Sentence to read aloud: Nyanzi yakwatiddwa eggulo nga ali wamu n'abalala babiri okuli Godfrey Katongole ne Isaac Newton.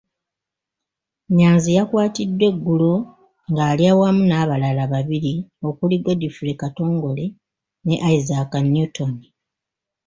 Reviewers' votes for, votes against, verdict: 1, 2, rejected